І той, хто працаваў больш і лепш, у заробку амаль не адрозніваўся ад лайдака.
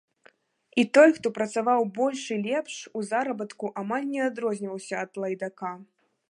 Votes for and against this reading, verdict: 1, 2, rejected